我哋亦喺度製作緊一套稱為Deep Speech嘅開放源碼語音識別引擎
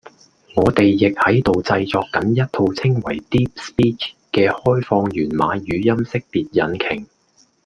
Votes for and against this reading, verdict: 2, 0, accepted